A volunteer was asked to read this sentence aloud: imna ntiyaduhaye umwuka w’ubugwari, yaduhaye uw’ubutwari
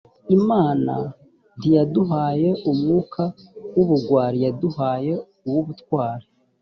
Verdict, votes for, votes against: accepted, 2, 0